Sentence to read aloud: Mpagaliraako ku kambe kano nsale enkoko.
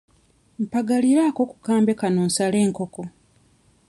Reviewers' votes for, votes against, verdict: 2, 0, accepted